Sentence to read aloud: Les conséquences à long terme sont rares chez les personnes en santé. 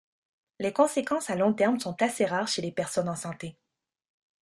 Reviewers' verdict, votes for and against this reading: rejected, 0, 2